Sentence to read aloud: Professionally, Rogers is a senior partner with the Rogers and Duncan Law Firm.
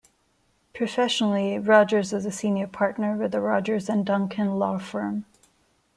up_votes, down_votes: 2, 0